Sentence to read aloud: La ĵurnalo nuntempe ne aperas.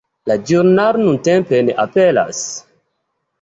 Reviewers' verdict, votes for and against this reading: accepted, 2, 0